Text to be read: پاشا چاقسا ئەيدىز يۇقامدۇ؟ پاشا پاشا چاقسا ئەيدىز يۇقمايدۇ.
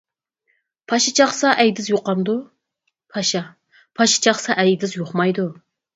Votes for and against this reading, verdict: 4, 0, accepted